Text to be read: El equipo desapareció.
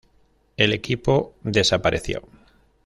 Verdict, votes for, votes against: accepted, 2, 0